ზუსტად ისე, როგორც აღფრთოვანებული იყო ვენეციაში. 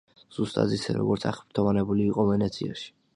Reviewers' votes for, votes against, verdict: 2, 0, accepted